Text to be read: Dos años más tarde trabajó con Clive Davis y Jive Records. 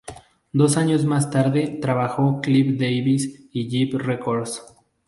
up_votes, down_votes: 0, 2